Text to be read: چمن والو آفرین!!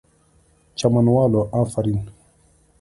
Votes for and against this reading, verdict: 3, 0, accepted